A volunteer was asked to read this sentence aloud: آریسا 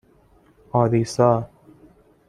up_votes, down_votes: 2, 0